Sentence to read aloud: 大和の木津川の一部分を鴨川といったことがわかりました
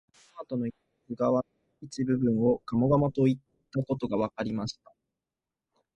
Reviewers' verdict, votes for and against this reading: rejected, 0, 4